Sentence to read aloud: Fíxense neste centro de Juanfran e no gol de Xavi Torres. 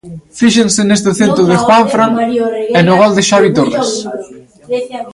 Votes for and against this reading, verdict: 0, 2, rejected